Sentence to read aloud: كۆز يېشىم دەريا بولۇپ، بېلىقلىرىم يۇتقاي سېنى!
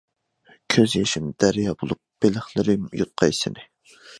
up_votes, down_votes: 2, 0